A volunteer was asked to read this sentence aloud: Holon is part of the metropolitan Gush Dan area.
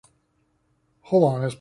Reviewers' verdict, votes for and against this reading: rejected, 0, 2